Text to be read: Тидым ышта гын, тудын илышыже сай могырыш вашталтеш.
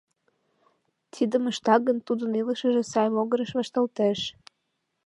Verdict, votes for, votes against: accepted, 2, 0